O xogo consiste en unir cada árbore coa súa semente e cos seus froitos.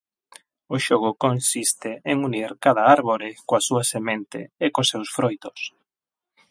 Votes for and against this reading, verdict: 8, 0, accepted